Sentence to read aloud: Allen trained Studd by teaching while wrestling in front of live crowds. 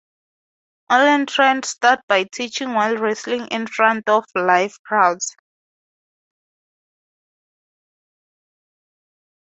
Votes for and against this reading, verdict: 2, 0, accepted